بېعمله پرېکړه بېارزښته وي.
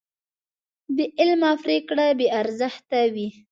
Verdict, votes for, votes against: accepted, 2, 0